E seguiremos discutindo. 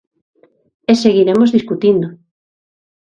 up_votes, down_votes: 2, 0